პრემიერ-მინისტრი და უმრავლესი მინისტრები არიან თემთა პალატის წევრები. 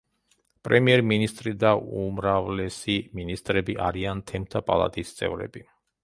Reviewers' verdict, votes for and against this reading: rejected, 0, 4